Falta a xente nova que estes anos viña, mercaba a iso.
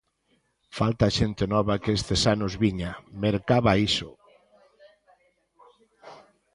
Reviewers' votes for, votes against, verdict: 0, 2, rejected